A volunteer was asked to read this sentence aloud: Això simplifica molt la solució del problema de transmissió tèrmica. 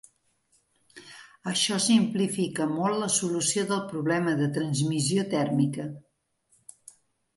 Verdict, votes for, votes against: accepted, 3, 0